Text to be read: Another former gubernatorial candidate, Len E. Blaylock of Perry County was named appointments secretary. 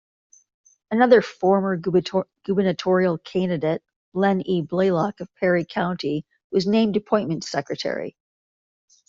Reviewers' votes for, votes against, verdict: 1, 2, rejected